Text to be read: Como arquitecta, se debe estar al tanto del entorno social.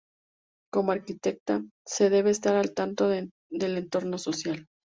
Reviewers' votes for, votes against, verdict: 0, 2, rejected